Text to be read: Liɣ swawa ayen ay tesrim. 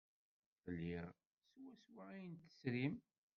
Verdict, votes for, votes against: rejected, 0, 2